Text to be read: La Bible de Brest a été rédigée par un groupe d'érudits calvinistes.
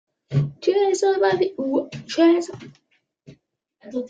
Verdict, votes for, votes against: rejected, 0, 2